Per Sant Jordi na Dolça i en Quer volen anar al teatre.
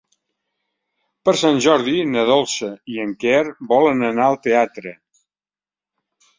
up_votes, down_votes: 3, 0